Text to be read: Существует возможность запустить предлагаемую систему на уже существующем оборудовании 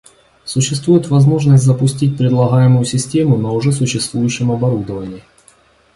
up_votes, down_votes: 2, 1